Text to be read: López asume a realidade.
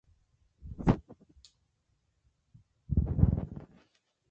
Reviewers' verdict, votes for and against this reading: rejected, 0, 3